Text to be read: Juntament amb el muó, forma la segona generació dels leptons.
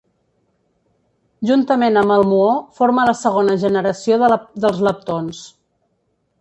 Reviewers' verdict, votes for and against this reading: rejected, 1, 2